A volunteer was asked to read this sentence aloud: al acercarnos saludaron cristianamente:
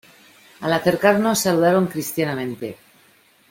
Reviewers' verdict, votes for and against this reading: accepted, 2, 0